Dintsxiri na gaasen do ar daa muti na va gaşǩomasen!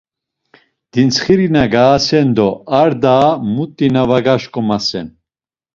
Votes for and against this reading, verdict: 2, 0, accepted